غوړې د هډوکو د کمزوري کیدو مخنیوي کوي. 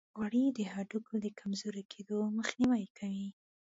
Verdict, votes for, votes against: rejected, 1, 2